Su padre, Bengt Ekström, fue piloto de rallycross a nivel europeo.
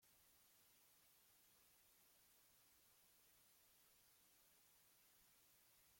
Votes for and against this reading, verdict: 0, 2, rejected